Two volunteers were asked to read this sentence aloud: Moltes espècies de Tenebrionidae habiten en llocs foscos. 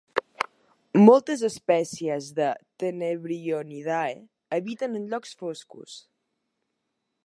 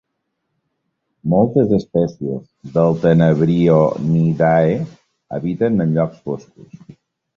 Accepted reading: first